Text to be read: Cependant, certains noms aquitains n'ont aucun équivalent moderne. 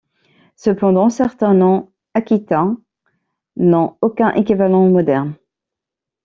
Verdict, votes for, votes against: accepted, 2, 0